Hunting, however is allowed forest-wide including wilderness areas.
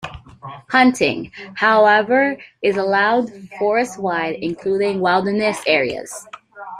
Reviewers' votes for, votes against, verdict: 2, 0, accepted